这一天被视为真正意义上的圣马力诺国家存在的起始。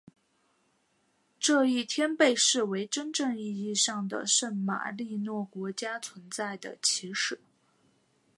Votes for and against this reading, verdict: 2, 0, accepted